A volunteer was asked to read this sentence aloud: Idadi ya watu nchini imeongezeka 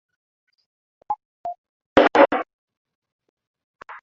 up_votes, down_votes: 2, 8